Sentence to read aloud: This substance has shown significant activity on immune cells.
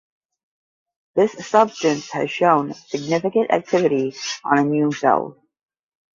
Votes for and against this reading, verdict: 0, 10, rejected